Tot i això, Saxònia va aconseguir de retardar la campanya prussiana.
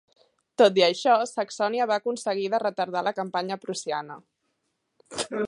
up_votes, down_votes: 0, 2